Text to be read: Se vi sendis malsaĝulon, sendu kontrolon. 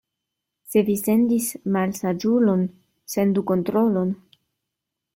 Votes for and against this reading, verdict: 2, 0, accepted